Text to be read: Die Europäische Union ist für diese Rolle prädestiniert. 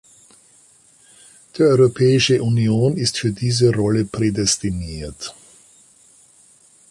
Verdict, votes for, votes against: accepted, 2, 0